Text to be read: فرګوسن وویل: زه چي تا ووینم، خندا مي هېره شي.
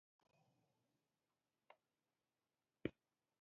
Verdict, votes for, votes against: rejected, 0, 2